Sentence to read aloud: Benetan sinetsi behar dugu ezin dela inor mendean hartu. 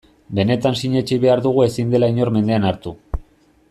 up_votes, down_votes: 2, 0